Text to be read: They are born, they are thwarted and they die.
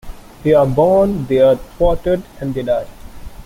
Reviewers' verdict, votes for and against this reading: rejected, 1, 2